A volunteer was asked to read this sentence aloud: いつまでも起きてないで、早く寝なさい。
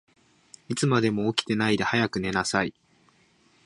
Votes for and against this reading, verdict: 2, 0, accepted